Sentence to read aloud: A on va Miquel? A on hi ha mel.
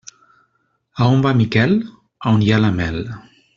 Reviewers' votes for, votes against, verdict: 0, 2, rejected